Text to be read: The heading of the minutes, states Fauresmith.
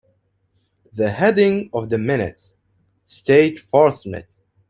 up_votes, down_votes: 0, 2